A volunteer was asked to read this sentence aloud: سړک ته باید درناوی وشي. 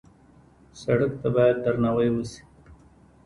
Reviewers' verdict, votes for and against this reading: rejected, 0, 2